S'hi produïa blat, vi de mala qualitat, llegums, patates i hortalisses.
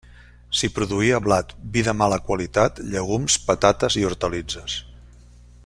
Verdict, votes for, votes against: rejected, 1, 2